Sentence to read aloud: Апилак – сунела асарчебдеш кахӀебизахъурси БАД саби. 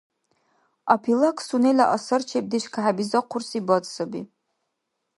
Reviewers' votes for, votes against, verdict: 2, 0, accepted